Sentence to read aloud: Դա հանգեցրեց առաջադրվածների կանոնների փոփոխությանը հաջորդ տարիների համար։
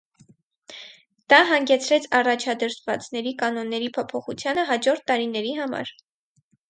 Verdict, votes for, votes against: accepted, 4, 0